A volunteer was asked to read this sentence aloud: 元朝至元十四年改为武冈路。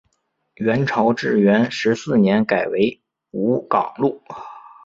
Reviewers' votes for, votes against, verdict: 0, 3, rejected